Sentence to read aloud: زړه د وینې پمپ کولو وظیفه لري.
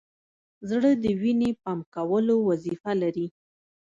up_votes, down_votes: 1, 2